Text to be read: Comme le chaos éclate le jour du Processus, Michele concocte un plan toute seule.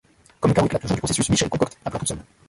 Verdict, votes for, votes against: rejected, 0, 2